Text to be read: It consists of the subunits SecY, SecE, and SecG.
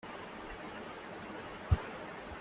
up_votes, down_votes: 0, 2